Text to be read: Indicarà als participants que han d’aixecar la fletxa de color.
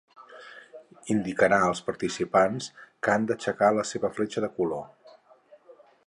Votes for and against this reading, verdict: 4, 6, rejected